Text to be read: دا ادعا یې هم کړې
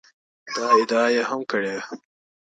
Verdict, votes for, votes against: accepted, 2, 1